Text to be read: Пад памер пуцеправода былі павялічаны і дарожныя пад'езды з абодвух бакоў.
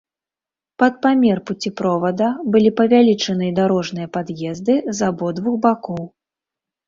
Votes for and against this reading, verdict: 0, 2, rejected